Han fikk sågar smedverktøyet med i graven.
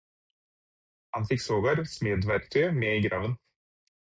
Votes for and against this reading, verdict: 4, 0, accepted